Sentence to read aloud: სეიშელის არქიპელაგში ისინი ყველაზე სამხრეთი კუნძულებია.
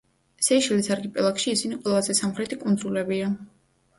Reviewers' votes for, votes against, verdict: 2, 0, accepted